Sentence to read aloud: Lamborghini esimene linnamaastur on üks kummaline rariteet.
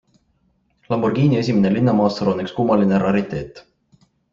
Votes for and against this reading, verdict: 3, 0, accepted